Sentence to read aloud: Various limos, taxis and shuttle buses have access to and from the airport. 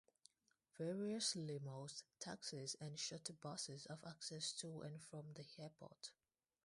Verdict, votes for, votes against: rejected, 0, 2